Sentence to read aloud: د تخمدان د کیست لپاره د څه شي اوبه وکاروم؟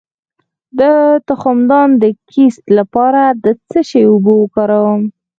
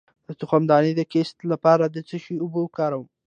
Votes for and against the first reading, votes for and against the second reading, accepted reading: 2, 4, 2, 0, second